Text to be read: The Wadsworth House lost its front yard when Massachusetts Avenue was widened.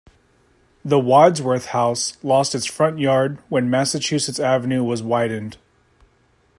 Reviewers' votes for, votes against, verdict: 2, 0, accepted